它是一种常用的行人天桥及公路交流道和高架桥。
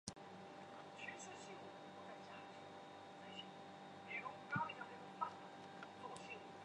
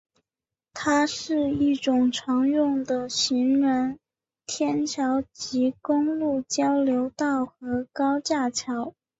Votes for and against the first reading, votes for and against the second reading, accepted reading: 0, 2, 2, 0, second